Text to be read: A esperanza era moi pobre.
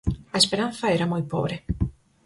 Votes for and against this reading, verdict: 4, 0, accepted